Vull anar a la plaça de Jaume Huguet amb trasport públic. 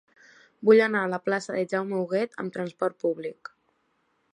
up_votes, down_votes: 3, 0